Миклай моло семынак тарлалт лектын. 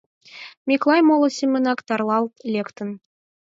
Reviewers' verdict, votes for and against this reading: accepted, 4, 0